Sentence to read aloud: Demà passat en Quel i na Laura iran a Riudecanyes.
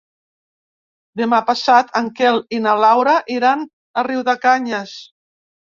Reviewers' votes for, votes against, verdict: 2, 0, accepted